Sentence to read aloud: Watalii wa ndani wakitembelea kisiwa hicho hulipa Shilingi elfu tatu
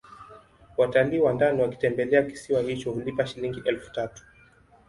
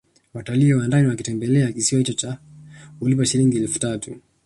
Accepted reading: first